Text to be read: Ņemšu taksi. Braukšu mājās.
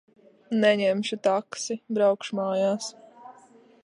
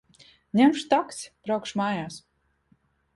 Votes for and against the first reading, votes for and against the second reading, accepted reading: 0, 2, 2, 0, second